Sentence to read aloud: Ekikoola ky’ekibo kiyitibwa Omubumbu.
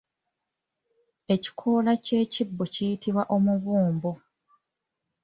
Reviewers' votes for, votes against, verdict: 2, 0, accepted